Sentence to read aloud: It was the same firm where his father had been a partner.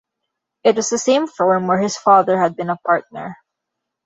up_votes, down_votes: 2, 0